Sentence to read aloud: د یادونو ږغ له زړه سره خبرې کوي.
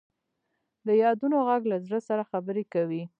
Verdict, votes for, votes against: accepted, 2, 1